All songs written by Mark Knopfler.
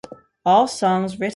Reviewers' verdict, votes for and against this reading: rejected, 0, 3